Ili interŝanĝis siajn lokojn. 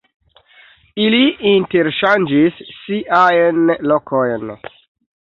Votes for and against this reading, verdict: 1, 2, rejected